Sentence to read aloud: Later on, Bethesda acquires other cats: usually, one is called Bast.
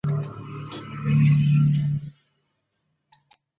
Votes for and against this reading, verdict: 0, 2, rejected